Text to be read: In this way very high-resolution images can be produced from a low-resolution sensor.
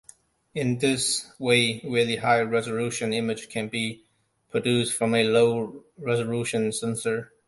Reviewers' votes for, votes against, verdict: 1, 2, rejected